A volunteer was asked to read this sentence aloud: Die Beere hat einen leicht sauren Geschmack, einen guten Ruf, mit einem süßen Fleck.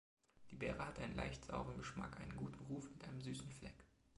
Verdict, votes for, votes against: accepted, 2, 0